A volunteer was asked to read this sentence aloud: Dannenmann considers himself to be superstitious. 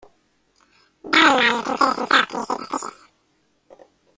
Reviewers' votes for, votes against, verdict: 0, 2, rejected